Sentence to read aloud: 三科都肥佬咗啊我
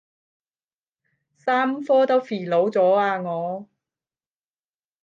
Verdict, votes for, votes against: rejected, 0, 10